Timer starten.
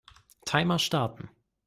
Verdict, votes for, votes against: accepted, 2, 0